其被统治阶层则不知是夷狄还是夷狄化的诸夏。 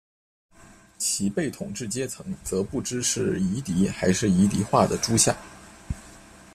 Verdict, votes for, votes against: accepted, 2, 0